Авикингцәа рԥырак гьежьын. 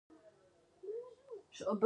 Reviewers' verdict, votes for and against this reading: rejected, 0, 2